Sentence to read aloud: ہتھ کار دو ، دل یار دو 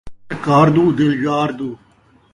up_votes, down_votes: 1, 2